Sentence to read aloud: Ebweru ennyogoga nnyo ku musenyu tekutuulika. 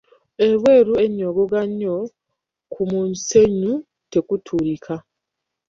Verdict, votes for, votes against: rejected, 1, 2